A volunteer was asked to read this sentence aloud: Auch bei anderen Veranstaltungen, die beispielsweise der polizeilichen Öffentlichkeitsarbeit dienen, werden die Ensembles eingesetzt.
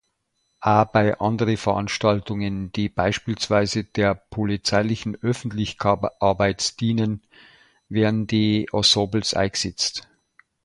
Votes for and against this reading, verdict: 0, 2, rejected